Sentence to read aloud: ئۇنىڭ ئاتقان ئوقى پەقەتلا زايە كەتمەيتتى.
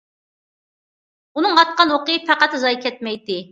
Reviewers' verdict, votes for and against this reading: accepted, 2, 0